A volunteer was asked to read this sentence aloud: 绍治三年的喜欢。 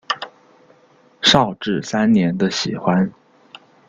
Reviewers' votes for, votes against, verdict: 2, 0, accepted